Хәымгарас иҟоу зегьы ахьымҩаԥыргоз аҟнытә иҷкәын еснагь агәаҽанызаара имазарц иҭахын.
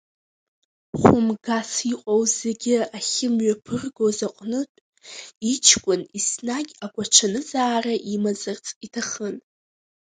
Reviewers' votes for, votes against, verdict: 2, 3, rejected